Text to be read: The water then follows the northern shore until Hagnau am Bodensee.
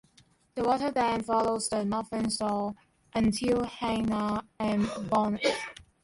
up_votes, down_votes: 1, 2